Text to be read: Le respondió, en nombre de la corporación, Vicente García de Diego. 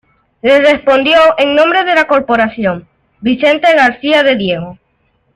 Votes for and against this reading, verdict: 1, 2, rejected